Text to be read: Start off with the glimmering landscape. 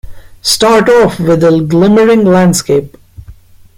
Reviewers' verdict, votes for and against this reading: rejected, 1, 2